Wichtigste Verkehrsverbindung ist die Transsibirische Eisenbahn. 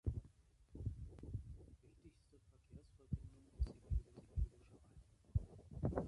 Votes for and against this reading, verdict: 0, 2, rejected